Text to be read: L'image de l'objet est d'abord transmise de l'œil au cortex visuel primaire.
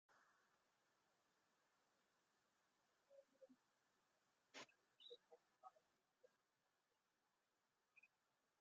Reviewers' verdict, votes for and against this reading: rejected, 0, 2